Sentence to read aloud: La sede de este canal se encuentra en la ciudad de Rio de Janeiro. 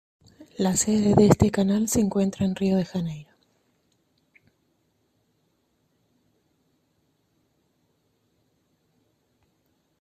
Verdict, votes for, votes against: rejected, 0, 2